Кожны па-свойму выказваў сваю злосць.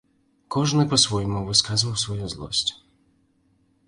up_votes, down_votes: 0, 2